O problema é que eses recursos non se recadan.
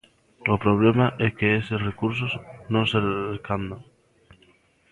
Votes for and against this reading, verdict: 0, 2, rejected